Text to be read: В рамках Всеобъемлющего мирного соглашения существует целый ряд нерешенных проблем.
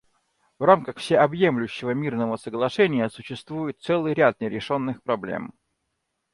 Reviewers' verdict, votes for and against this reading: accepted, 2, 1